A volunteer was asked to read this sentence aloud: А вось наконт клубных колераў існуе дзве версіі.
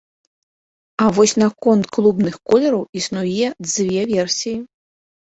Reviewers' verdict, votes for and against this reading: rejected, 0, 2